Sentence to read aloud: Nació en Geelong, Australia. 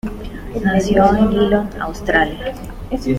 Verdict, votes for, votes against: accepted, 2, 0